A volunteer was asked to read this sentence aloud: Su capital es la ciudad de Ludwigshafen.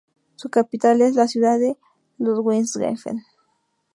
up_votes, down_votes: 0, 2